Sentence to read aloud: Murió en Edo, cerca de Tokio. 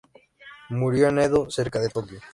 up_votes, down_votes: 2, 0